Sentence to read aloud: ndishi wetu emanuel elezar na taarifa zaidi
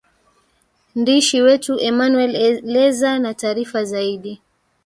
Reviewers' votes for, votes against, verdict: 1, 2, rejected